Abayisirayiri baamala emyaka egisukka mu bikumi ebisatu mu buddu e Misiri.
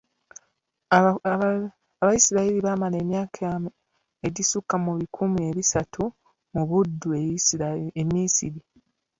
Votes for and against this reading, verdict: 1, 2, rejected